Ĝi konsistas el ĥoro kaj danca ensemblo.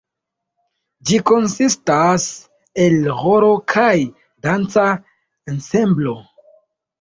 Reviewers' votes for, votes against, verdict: 2, 0, accepted